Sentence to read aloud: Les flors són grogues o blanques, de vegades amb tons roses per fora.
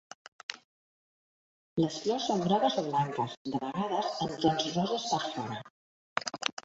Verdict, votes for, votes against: accepted, 2, 1